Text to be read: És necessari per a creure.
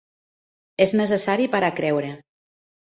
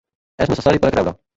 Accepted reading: first